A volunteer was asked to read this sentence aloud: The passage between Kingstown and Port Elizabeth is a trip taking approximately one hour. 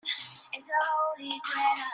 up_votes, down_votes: 0, 2